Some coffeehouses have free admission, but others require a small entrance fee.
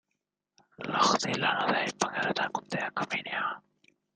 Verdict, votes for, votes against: rejected, 0, 2